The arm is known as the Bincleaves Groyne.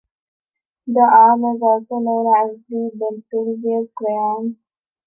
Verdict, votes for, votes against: rejected, 0, 2